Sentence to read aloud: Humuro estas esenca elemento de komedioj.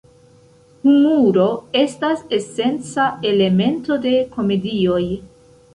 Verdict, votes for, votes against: rejected, 0, 2